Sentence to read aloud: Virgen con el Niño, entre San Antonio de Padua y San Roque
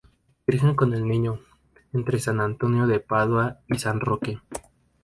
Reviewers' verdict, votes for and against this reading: accepted, 2, 0